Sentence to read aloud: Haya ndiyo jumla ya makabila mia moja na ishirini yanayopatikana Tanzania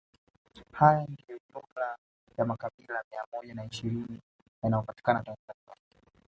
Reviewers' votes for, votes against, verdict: 1, 2, rejected